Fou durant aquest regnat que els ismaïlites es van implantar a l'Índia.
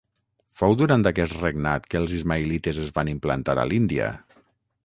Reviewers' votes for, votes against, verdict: 6, 0, accepted